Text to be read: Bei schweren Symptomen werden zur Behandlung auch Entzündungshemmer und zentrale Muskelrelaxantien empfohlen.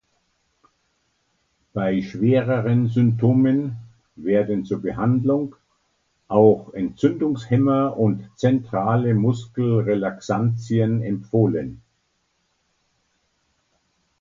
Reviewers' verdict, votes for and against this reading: rejected, 0, 2